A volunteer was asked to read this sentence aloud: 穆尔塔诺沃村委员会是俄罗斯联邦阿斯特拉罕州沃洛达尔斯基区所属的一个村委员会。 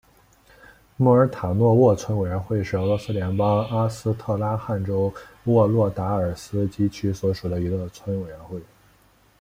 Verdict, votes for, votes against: accepted, 2, 1